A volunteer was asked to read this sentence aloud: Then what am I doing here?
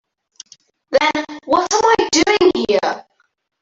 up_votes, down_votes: 3, 4